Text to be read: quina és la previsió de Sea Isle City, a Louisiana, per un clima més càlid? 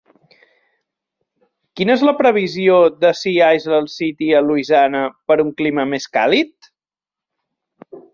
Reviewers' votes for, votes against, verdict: 2, 1, accepted